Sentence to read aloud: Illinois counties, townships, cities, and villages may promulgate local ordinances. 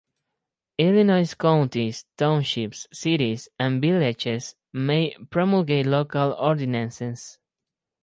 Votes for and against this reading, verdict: 4, 0, accepted